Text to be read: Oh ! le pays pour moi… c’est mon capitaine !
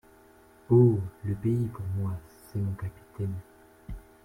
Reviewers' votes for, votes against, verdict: 2, 0, accepted